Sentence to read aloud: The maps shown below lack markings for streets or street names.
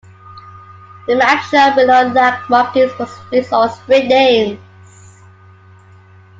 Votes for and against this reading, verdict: 2, 0, accepted